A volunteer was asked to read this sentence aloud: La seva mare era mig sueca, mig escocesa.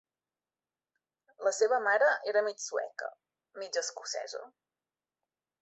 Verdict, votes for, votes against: accepted, 2, 0